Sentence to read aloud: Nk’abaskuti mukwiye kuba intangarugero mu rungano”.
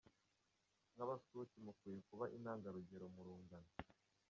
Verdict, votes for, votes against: accepted, 2, 0